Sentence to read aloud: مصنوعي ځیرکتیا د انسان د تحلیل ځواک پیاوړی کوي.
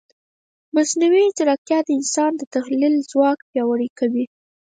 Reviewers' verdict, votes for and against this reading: rejected, 0, 4